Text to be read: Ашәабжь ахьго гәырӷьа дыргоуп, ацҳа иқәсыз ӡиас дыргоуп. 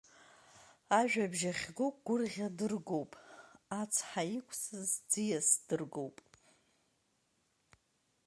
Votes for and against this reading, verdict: 1, 2, rejected